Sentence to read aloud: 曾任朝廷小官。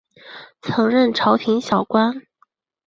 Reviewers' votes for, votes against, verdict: 2, 0, accepted